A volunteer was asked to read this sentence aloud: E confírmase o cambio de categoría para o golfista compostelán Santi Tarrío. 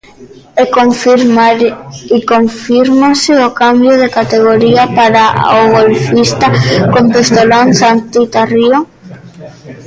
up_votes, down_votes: 0, 2